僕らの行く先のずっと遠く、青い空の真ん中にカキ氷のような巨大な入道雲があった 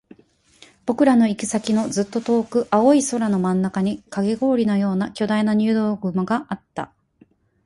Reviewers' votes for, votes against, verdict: 4, 4, rejected